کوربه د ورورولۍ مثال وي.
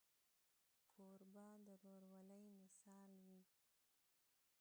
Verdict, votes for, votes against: rejected, 1, 2